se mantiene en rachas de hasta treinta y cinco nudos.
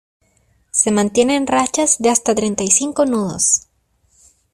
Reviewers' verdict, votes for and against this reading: accepted, 2, 0